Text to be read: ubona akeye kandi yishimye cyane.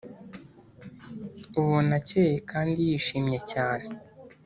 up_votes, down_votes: 2, 0